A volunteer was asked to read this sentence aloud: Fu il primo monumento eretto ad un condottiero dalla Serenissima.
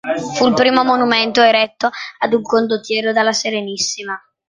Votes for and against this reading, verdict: 2, 0, accepted